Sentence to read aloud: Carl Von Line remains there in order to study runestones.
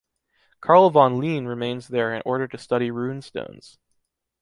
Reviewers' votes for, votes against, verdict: 2, 0, accepted